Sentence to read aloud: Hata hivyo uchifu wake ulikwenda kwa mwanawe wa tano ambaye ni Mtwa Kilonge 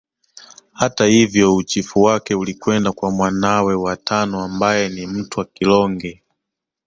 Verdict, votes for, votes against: accepted, 2, 1